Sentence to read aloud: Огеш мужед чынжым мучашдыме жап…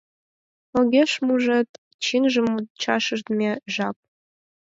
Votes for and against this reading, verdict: 2, 4, rejected